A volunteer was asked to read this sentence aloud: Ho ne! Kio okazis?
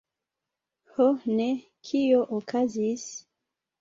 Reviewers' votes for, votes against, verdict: 0, 2, rejected